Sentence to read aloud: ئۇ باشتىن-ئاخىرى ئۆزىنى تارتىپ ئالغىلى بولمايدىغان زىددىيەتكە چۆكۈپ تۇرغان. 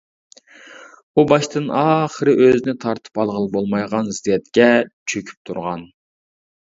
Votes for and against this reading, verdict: 2, 0, accepted